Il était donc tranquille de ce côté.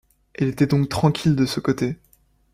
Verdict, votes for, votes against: accepted, 2, 0